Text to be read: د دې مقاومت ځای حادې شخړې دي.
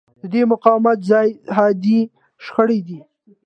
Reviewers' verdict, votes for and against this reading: accepted, 2, 0